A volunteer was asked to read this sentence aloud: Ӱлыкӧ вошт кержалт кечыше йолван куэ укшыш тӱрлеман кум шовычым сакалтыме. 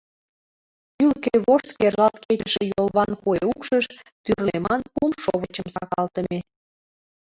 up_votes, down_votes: 2, 0